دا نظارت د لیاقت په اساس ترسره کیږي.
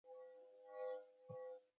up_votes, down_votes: 0, 2